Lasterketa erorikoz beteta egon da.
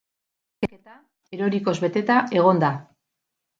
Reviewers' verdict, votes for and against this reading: rejected, 0, 4